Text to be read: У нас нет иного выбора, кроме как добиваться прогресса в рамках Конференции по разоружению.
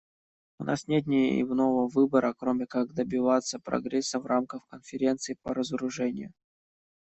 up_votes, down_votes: 1, 2